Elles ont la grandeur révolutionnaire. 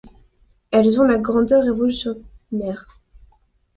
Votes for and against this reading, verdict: 1, 2, rejected